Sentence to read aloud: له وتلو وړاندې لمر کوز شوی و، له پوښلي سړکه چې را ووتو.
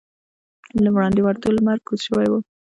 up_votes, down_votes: 1, 2